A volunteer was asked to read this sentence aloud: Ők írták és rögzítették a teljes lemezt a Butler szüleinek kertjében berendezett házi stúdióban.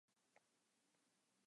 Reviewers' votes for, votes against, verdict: 0, 4, rejected